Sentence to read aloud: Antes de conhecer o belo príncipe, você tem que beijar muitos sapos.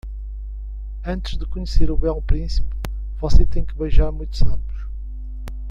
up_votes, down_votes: 2, 0